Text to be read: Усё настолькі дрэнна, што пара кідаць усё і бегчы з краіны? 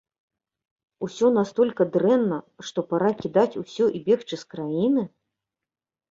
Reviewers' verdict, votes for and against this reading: rejected, 1, 2